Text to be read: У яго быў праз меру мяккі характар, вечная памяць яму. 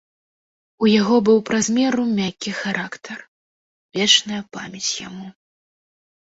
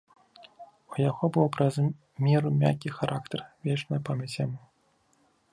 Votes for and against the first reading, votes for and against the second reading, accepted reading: 2, 0, 0, 2, first